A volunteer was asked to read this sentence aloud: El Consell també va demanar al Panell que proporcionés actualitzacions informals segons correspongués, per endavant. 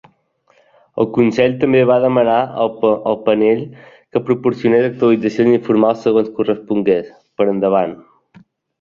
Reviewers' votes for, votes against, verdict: 0, 2, rejected